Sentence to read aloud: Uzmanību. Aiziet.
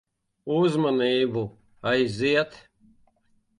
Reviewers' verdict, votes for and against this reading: accepted, 2, 0